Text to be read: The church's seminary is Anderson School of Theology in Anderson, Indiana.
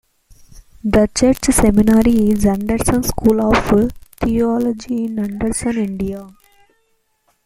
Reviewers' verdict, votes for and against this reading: accepted, 2, 0